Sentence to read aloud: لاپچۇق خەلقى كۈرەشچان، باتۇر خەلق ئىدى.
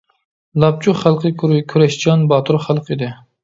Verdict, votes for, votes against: rejected, 0, 2